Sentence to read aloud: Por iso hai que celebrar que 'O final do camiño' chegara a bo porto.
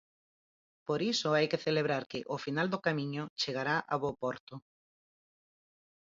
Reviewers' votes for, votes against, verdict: 0, 4, rejected